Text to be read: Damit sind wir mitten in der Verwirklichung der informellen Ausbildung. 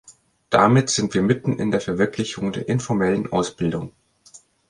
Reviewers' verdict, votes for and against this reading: accepted, 2, 0